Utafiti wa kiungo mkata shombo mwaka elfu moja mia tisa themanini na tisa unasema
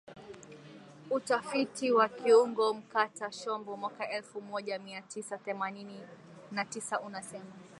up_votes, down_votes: 2, 0